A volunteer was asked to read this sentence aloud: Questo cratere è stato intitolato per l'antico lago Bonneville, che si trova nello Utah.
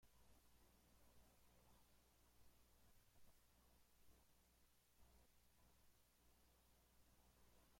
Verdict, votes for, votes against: rejected, 0, 2